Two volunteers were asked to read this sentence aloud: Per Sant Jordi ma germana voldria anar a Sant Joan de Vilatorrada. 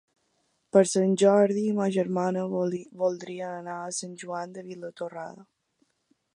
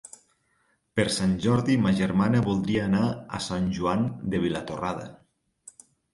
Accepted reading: second